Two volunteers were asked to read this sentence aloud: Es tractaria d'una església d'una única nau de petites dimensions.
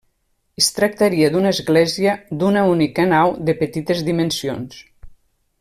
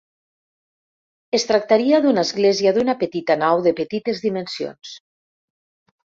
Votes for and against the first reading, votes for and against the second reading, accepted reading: 3, 0, 0, 2, first